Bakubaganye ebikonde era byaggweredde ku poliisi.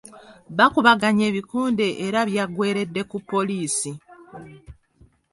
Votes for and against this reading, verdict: 2, 0, accepted